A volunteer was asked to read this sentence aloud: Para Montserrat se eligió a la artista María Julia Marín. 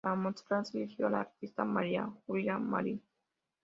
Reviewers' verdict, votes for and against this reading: accepted, 2, 0